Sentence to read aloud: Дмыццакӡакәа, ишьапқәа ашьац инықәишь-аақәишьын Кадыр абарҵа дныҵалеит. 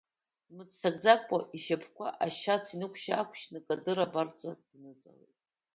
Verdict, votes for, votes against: rejected, 1, 2